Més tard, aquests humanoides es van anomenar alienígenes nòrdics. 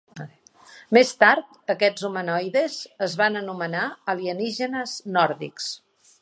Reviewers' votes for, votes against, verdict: 3, 0, accepted